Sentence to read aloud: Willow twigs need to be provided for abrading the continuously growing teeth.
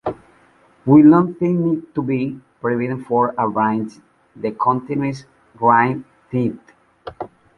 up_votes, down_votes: 0, 2